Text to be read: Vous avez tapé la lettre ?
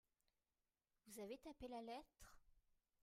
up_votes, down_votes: 1, 2